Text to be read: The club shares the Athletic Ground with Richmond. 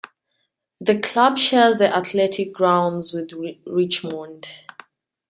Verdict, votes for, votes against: rejected, 0, 2